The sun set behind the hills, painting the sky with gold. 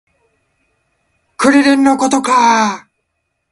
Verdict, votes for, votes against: rejected, 0, 2